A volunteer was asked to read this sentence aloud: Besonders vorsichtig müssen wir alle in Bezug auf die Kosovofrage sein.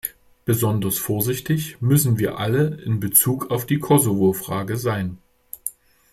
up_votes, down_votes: 2, 0